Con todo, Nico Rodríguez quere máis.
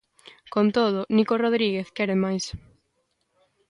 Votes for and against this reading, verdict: 2, 0, accepted